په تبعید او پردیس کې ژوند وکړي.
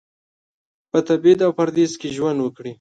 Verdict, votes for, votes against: accepted, 2, 0